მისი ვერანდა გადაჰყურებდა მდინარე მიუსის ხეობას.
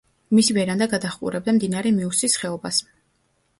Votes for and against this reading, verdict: 2, 0, accepted